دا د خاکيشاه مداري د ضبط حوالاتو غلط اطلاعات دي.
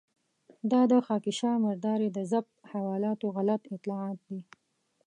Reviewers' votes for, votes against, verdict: 1, 2, rejected